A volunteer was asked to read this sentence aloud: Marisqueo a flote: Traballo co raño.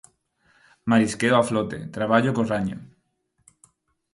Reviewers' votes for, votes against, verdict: 4, 0, accepted